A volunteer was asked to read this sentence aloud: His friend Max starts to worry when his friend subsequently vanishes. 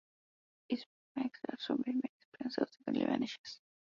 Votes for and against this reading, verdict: 0, 2, rejected